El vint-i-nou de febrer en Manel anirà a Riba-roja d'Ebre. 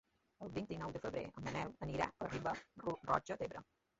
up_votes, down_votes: 1, 2